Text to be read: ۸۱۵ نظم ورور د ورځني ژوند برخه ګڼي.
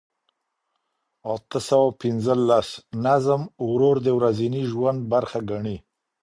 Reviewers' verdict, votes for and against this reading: rejected, 0, 2